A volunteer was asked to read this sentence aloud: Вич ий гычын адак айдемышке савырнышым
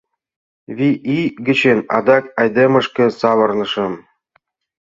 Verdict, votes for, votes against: rejected, 1, 3